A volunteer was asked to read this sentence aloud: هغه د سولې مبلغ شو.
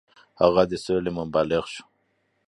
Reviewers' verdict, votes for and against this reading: accepted, 2, 0